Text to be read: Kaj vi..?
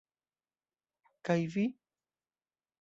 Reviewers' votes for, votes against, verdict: 2, 0, accepted